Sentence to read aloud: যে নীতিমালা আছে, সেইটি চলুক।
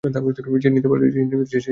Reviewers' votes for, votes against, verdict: 0, 2, rejected